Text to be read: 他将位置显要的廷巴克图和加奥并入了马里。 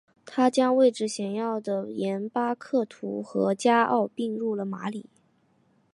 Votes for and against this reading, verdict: 2, 0, accepted